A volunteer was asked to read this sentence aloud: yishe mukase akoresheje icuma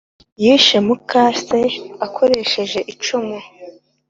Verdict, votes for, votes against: accepted, 2, 0